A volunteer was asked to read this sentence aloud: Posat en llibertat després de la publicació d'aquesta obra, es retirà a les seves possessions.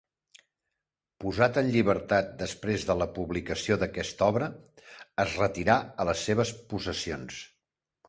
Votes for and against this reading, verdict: 2, 0, accepted